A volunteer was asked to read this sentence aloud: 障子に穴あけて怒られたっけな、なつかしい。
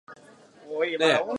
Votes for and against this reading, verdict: 2, 1, accepted